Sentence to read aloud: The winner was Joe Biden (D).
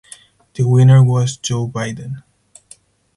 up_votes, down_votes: 4, 0